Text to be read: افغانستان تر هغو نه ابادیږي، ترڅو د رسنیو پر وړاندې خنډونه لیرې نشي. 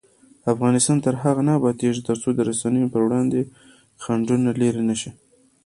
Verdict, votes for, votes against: accepted, 2, 0